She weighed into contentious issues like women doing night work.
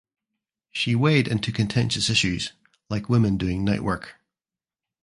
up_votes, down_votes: 2, 1